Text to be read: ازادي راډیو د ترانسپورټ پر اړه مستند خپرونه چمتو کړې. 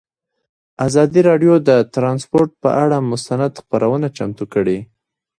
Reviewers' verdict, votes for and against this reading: rejected, 1, 2